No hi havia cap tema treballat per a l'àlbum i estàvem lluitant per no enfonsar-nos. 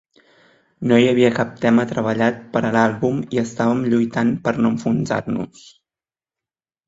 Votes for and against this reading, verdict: 3, 0, accepted